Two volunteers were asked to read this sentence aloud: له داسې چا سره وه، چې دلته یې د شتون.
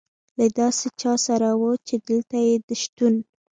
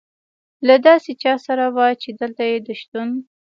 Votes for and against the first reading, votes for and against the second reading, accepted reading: 1, 2, 2, 0, second